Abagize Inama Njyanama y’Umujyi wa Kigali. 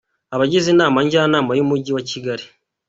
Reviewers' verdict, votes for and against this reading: accepted, 2, 1